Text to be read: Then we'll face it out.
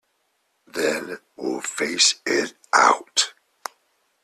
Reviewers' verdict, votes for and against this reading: rejected, 1, 2